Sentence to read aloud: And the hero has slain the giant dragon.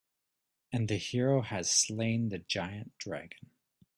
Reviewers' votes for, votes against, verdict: 2, 0, accepted